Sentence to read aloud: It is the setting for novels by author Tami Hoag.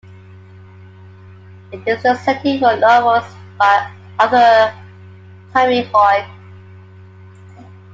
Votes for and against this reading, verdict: 2, 1, accepted